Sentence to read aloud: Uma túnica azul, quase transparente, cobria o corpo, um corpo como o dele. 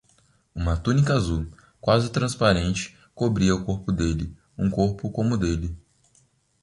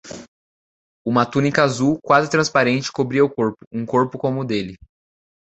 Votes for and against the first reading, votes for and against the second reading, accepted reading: 1, 2, 2, 0, second